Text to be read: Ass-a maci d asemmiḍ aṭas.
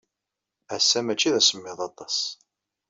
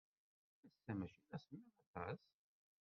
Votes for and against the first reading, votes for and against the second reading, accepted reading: 2, 0, 1, 2, first